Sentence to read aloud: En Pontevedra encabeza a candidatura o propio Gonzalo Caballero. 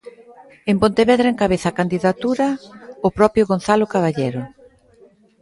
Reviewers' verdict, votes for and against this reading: accepted, 2, 0